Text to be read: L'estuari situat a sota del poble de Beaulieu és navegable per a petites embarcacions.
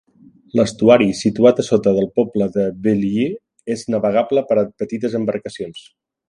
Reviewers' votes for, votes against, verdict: 2, 0, accepted